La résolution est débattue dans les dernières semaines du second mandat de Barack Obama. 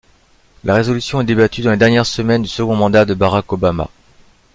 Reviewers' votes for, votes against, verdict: 2, 0, accepted